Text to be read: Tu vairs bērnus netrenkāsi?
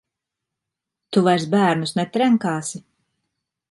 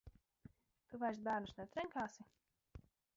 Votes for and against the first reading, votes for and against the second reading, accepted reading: 2, 0, 0, 4, first